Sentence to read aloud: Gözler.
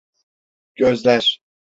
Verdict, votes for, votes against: accepted, 3, 0